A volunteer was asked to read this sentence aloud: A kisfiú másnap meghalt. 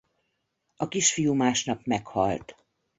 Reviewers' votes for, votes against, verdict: 2, 0, accepted